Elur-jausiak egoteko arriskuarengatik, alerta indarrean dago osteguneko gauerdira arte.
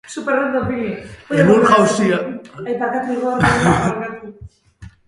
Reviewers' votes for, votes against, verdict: 0, 2, rejected